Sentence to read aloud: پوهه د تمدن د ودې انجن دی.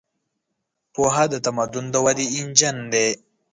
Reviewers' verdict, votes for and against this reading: accepted, 2, 0